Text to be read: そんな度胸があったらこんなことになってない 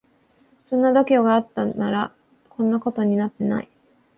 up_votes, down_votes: 1, 2